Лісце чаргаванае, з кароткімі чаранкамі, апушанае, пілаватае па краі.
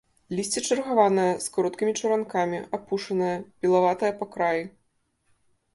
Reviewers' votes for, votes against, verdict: 2, 0, accepted